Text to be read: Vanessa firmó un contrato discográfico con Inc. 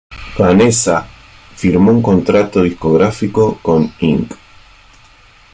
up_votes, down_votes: 2, 0